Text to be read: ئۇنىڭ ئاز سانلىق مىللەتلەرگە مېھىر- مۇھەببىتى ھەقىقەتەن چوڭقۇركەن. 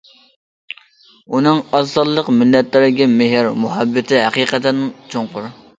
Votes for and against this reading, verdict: 0, 2, rejected